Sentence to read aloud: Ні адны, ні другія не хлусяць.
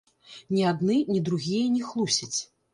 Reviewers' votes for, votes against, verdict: 0, 3, rejected